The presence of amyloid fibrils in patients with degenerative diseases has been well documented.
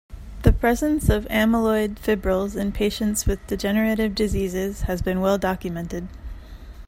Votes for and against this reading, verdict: 2, 0, accepted